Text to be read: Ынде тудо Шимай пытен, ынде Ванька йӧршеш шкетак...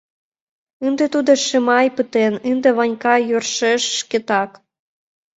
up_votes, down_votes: 2, 0